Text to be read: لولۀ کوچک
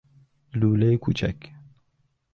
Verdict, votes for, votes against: accepted, 2, 0